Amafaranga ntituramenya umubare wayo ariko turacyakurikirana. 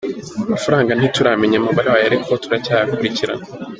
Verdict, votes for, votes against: rejected, 2, 3